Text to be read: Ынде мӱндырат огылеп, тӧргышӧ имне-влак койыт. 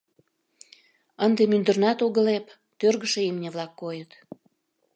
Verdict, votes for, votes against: rejected, 0, 2